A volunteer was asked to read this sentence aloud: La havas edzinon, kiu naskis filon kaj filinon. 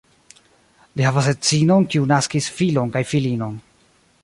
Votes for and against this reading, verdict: 1, 2, rejected